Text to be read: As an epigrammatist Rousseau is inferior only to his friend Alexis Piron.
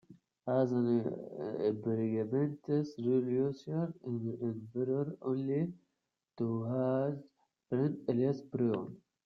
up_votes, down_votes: 0, 2